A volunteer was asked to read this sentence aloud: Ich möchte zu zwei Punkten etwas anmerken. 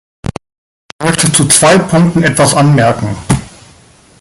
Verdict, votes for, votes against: rejected, 1, 2